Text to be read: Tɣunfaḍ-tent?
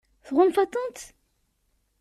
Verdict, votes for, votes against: accepted, 2, 0